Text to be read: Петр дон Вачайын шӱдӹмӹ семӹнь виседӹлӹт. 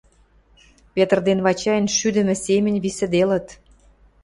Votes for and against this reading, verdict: 1, 2, rejected